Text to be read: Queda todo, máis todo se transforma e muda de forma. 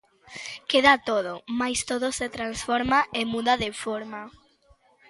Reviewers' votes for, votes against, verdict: 2, 0, accepted